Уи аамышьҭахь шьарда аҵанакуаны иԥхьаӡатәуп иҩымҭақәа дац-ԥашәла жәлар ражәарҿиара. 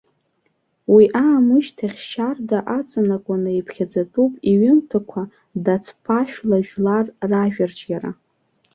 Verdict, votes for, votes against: accepted, 2, 1